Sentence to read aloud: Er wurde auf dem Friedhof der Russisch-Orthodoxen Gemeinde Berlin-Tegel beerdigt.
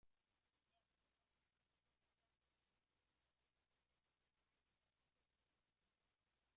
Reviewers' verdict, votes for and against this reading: rejected, 0, 2